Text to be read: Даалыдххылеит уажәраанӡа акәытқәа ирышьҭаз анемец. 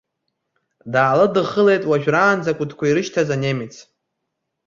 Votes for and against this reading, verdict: 2, 0, accepted